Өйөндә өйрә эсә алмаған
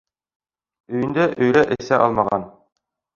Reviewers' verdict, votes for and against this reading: accepted, 2, 1